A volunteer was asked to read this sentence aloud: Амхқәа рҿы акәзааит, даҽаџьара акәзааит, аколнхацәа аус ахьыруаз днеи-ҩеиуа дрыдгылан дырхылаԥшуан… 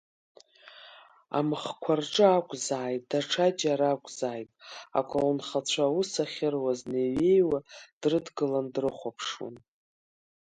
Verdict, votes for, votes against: rejected, 2, 3